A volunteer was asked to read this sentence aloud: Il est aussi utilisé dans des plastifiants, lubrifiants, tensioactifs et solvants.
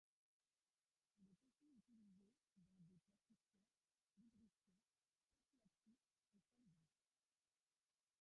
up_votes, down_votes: 0, 2